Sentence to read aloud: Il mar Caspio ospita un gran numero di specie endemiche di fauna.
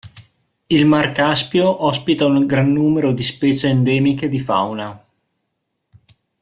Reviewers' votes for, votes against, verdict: 0, 2, rejected